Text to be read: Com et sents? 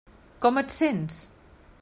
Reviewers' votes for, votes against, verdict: 3, 0, accepted